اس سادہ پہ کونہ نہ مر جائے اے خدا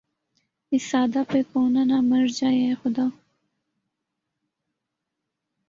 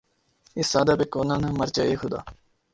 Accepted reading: first